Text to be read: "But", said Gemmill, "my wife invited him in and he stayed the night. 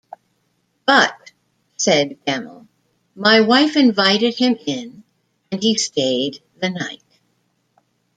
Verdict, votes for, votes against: accepted, 2, 0